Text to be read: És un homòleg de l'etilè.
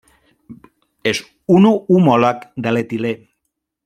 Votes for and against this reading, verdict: 1, 2, rejected